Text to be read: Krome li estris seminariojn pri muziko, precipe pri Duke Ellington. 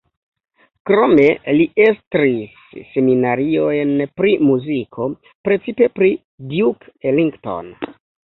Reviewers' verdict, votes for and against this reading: rejected, 0, 2